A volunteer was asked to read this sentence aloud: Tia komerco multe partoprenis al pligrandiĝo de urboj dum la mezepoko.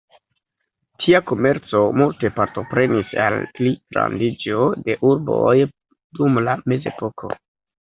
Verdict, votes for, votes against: rejected, 0, 2